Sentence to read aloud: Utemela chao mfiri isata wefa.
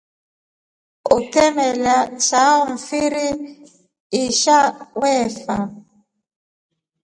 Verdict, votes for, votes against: rejected, 1, 2